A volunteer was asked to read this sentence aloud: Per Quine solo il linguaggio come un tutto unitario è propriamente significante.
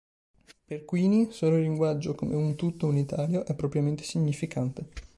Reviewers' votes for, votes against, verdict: 2, 3, rejected